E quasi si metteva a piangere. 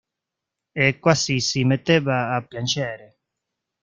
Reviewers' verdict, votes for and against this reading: rejected, 0, 2